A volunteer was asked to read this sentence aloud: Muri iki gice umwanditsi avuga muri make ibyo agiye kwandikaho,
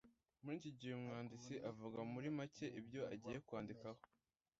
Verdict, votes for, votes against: rejected, 0, 2